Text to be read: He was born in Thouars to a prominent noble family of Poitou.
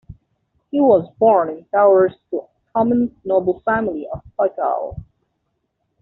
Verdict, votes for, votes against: rejected, 0, 2